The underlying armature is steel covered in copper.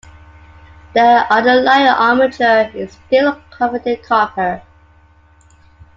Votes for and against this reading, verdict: 2, 0, accepted